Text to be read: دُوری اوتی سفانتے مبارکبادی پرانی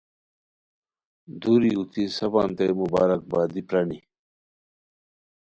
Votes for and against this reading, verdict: 2, 0, accepted